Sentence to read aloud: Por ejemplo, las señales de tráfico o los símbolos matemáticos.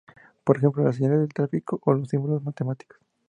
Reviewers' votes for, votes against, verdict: 2, 0, accepted